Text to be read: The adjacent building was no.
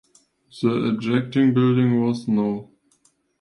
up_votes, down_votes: 2, 1